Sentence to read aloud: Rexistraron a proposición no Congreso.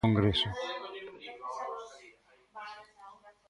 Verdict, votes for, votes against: rejected, 0, 2